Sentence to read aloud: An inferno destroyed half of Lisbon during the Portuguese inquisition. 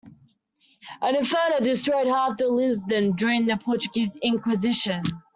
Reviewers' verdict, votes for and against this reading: rejected, 0, 2